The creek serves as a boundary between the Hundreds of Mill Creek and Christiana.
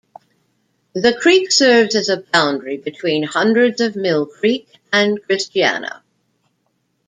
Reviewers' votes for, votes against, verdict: 2, 0, accepted